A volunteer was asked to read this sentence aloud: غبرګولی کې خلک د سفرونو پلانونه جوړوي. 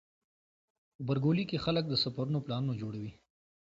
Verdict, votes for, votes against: accepted, 2, 0